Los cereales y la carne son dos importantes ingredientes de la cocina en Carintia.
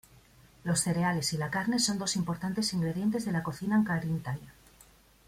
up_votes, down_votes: 0, 2